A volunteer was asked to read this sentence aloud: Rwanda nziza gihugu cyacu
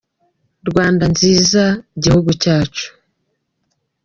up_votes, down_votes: 2, 1